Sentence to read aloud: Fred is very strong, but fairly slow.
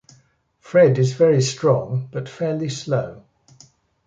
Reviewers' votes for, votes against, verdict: 2, 0, accepted